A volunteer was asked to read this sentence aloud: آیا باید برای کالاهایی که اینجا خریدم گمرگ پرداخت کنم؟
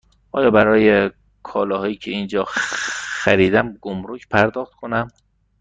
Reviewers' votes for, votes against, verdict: 1, 2, rejected